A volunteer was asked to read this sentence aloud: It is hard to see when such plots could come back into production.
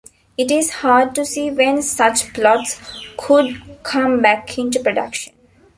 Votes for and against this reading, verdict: 2, 1, accepted